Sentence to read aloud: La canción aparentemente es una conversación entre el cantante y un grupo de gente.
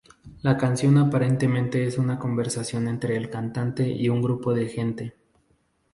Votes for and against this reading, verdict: 2, 0, accepted